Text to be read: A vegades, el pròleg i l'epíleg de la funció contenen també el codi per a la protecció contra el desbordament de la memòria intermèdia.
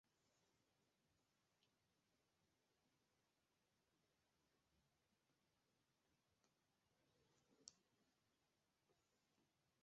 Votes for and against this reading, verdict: 0, 2, rejected